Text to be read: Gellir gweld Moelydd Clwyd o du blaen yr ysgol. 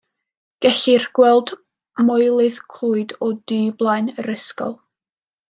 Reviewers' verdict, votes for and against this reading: accepted, 2, 0